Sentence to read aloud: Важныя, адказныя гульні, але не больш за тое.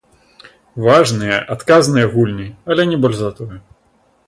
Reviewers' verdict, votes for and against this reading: accepted, 2, 0